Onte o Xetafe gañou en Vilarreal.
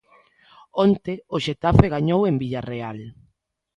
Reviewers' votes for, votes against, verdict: 0, 3, rejected